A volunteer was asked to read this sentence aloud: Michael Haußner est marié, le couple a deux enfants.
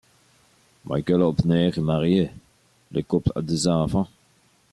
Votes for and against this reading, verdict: 1, 2, rejected